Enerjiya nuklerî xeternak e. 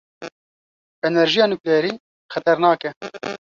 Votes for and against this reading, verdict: 2, 0, accepted